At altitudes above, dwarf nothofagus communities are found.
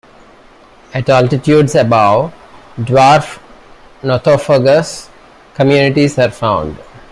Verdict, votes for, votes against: rejected, 0, 2